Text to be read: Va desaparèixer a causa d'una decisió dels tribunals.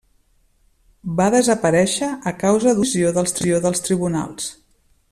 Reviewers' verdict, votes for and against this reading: rejected, 0, 2